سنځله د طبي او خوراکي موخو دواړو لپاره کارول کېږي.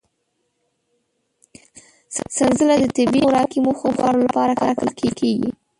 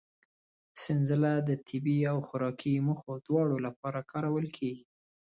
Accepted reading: second